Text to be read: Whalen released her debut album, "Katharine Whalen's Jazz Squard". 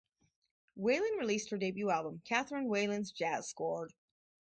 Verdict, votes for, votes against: accepted, 4, 0